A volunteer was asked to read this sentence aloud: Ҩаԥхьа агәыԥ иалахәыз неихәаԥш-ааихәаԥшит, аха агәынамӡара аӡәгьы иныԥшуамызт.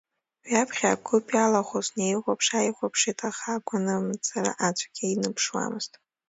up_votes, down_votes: 2, 1